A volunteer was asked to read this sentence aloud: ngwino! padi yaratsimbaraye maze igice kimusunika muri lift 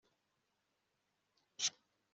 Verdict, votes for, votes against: rejected, 0, 2